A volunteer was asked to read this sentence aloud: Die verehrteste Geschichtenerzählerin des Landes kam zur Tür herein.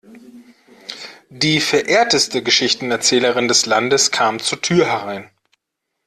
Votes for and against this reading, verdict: 2, 0, accepted